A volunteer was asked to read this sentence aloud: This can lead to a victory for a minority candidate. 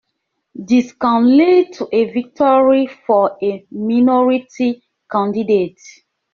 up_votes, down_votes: 2, 0